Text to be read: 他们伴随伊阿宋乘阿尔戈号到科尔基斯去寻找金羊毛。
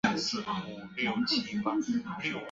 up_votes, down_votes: 1, 2